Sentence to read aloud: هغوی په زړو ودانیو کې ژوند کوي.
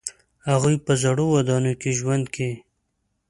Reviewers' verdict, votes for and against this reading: accepted, 2, 0